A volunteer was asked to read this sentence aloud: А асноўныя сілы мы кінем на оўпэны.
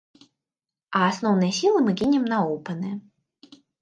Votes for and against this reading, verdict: 2, 0, accepted